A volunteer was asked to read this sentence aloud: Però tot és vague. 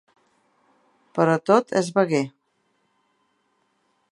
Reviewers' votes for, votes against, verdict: 1, 2, rejected